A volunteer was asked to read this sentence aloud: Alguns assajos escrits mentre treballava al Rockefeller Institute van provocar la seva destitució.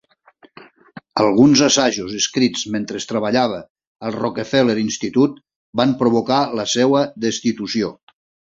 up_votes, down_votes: 2, 3